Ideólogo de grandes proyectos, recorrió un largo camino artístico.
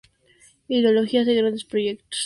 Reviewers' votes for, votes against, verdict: 0, 4, rejected